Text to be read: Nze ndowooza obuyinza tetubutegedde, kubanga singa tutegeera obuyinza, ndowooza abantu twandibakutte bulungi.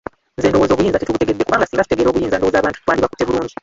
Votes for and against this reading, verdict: 1, 2, rejected